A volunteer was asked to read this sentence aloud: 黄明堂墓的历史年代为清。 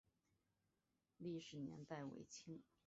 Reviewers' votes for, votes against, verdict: 2, 2, rejected